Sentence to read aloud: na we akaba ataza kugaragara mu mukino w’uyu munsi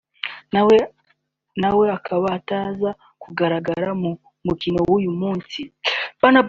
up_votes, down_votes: 1, 2